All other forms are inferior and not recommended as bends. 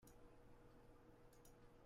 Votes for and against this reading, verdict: 0, 2, rejected